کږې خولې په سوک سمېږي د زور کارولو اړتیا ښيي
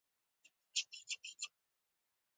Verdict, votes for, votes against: rejected, 1, 2